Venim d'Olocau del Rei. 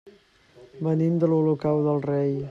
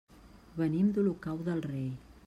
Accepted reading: second